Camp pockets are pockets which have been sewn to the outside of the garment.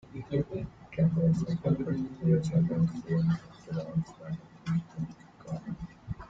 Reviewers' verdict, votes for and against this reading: rejected, 1, 2